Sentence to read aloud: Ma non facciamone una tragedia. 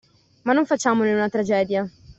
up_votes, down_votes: 2, 0